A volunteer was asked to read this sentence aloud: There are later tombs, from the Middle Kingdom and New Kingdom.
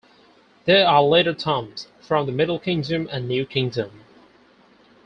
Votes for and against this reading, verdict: 2, 4, rejected